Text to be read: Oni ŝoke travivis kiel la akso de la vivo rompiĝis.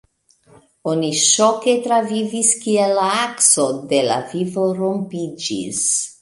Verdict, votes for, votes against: accepted, 2, 0